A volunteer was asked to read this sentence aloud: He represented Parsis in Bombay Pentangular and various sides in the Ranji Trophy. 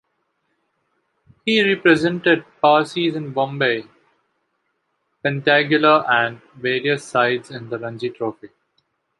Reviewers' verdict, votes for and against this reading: rejected, 0, 2